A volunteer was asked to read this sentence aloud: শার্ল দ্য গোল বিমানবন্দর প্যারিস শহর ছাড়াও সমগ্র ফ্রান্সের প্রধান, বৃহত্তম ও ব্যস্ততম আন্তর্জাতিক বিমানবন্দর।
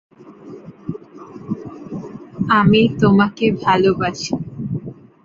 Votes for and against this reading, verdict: 0, 2, rejected